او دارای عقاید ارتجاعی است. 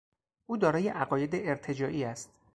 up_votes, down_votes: 0, 2